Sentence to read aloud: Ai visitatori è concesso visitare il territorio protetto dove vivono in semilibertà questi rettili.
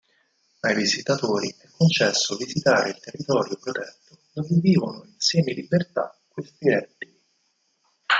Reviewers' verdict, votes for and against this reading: rejected, 2, 4